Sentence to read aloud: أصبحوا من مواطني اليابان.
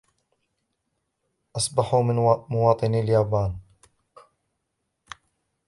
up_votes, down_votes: 0, 2